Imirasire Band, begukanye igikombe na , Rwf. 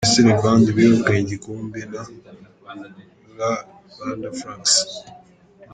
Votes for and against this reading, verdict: 0, 2, rejected